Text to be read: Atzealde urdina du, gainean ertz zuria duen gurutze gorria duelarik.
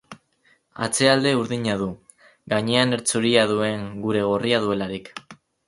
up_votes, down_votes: 0, 4